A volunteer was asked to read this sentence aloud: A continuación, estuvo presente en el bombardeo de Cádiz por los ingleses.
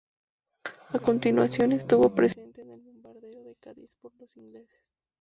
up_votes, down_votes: 0, 2